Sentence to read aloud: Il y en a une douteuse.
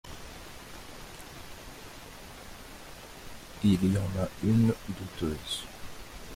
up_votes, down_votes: 0, 2